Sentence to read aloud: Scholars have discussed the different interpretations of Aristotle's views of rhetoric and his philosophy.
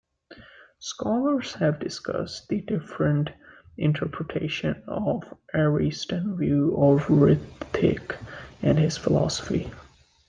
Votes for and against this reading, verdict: 0, 2, rejected